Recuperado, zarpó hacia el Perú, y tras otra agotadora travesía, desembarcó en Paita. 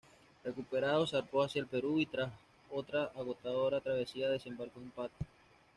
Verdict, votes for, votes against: rejected, 1, 2